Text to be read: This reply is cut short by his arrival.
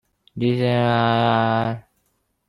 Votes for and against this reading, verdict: 0, 2, rejected